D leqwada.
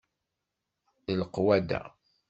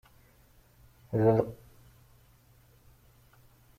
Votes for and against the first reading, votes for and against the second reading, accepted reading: 2, 0, 0, 2, first